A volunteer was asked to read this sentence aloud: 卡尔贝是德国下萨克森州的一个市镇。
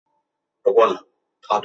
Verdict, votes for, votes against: rejected, 1, 4